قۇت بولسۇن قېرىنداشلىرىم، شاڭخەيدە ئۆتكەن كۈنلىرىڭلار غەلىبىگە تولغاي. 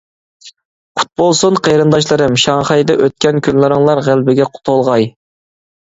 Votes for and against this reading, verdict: 0, 2, rejected